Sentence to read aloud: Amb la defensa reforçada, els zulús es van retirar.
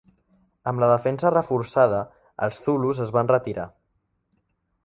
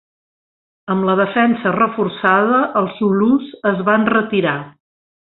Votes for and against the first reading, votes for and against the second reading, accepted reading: 1, 2, 2, 0, second